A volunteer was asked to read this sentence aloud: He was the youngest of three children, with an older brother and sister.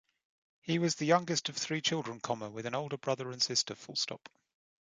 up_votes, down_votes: 1, 2